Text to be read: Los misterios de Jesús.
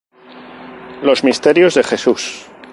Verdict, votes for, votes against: rejected, 2, 2